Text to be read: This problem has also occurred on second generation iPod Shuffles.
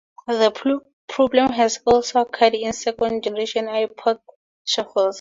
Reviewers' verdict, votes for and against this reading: rejected, 2, 4